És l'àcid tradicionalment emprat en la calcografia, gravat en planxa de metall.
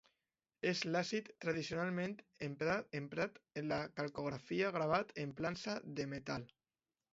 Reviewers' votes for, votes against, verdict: 0, 2, rejected